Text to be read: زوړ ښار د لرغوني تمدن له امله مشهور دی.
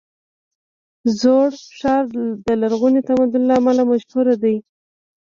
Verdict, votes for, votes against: rejected, 1, 2